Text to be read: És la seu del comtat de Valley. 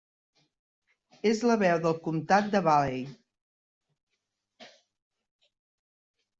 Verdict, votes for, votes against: rejected, 0, 3